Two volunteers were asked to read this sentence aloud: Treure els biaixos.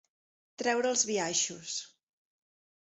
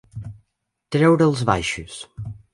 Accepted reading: first